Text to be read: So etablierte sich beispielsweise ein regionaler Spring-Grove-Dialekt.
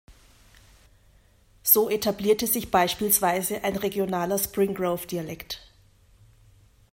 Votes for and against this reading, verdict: 1, 2, rejected